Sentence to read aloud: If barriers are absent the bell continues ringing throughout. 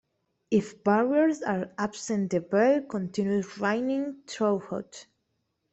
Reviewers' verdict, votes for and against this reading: accepted, 2, 0